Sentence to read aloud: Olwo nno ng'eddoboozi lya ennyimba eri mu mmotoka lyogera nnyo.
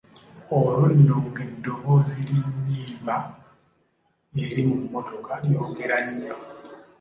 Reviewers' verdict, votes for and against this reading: accepted, 2, 1